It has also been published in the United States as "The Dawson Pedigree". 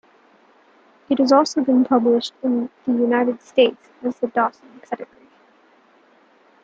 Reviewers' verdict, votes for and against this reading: accepted, 2, 0